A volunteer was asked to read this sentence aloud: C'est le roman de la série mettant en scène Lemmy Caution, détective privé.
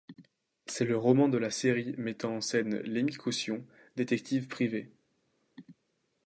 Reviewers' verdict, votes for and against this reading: accepted, 2, 0